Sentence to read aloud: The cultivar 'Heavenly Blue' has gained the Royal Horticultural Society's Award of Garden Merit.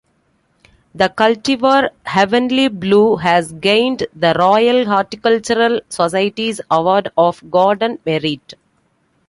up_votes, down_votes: 2, 0